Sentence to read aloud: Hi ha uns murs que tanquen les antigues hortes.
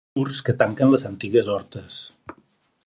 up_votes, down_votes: 2, 4